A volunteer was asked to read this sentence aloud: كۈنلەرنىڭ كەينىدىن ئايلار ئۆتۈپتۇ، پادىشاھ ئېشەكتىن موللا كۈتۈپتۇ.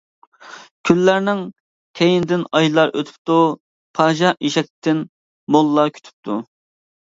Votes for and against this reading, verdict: 1, 2, rejected